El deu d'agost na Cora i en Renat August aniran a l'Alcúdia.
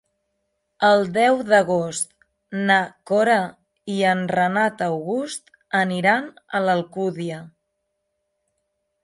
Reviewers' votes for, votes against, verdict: 3, 0, accepted